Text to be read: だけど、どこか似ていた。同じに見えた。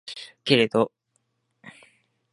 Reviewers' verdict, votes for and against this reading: rejected, 0, 2